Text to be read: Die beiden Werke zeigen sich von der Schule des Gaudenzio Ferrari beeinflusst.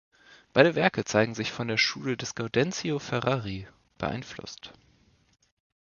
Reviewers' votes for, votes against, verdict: 0, 2, rejected